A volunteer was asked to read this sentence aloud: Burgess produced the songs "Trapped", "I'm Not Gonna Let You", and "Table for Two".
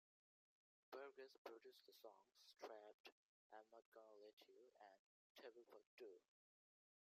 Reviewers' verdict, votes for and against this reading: rejected, 0, 2